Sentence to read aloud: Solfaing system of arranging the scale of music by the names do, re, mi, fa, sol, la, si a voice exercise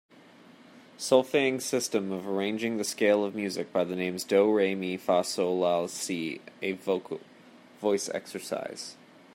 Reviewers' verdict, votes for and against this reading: rejected, 0, 2